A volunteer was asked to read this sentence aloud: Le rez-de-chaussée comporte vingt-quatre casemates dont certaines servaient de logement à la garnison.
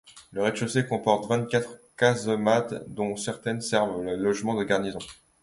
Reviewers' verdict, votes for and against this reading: rejected, 1, 2